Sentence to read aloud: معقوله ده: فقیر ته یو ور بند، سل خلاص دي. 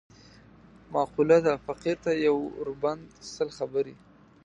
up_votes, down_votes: 0, 2